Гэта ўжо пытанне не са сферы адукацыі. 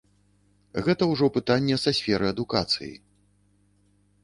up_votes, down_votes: 0, 2